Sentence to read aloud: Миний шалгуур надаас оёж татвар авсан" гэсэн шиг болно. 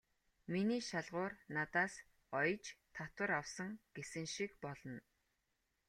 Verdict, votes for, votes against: rejected, 1, 2